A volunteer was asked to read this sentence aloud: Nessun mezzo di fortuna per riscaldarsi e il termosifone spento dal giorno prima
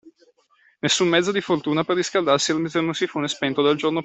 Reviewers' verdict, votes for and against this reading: rejected, 0, 2